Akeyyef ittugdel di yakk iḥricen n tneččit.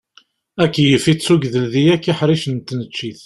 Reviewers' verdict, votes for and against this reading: accepted, 2, 0